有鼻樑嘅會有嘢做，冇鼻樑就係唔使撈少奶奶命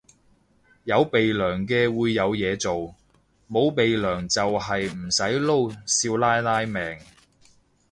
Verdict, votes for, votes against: accepted, 2, 0